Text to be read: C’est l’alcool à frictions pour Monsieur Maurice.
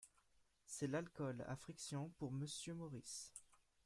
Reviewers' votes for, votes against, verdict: 2, 0, accepted